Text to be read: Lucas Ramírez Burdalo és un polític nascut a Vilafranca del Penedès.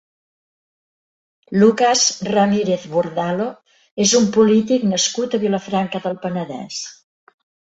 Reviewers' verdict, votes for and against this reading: accepted, 3, 1